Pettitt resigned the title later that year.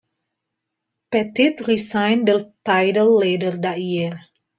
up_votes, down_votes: 0, 2